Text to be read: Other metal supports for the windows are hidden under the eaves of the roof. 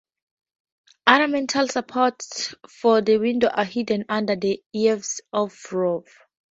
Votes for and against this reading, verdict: 2, 2, rejected